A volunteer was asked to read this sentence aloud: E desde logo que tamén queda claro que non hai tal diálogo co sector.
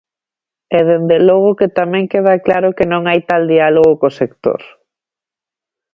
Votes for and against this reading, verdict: 1, 2, rejected